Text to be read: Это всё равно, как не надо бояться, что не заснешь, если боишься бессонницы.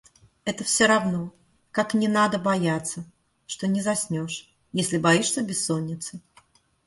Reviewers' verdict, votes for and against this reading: accepted, 2, 0